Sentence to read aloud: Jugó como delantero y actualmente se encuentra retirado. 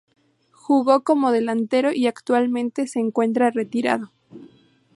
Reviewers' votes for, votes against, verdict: 8, 0, accepted